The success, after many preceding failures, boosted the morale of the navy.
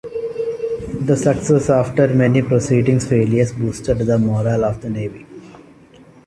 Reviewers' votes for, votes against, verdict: 2, 0, accepted